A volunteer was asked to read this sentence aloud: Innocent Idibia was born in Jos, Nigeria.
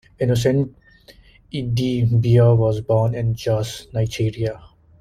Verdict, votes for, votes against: accepted, 2, 0